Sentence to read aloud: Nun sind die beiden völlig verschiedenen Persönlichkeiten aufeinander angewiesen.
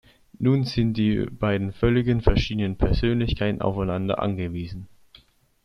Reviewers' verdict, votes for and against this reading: rejected, 0, 2